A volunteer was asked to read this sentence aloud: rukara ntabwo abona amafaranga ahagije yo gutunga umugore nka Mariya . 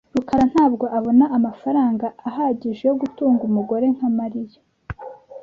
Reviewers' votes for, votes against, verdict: 2, 0, accepted